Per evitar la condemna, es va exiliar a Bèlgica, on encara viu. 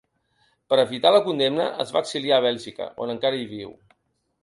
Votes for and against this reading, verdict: 0, 2, rejected